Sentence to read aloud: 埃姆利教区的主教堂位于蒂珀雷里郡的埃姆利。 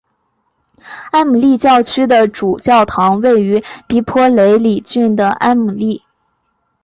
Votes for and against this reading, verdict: 5, 0, accepted